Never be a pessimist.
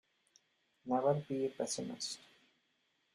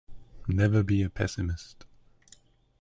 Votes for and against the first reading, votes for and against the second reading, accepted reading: 1, 2, 2, 0, second